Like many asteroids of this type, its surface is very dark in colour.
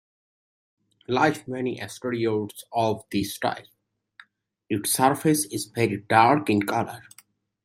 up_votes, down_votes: 1, 2